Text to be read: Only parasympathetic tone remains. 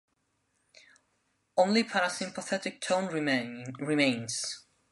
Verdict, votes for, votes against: rejected, 0, 2